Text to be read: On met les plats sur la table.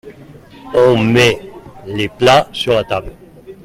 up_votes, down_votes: 1, 2